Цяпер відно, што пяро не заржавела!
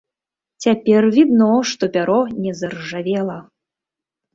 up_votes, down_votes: 2, 0